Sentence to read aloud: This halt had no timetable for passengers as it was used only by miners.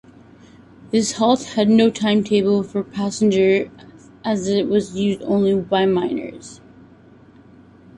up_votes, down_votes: 0, 2